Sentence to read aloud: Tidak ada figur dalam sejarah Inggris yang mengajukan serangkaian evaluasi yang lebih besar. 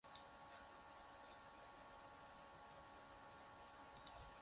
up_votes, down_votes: 0, 2